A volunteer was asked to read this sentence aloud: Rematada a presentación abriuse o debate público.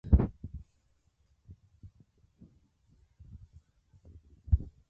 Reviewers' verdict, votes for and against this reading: rejected, 0, 2